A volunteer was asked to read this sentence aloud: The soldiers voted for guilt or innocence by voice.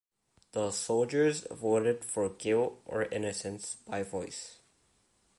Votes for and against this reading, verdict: 2, 0, accepted